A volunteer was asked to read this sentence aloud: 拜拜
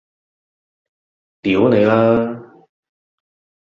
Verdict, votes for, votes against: rejected, 0, 2